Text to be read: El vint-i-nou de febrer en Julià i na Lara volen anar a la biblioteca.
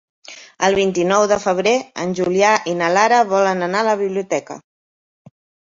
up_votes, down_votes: 3, 0